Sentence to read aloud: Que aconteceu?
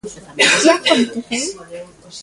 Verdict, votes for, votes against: rejected, 0, 2